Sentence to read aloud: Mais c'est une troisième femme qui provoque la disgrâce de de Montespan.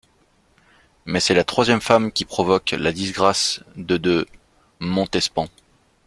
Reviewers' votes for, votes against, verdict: 1, 2, rejected